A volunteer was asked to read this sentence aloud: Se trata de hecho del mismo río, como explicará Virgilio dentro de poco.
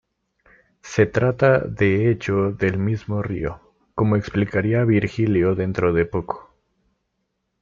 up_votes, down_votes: 1, 2